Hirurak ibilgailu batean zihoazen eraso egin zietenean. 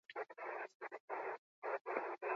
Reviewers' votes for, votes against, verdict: 0, 4, rejected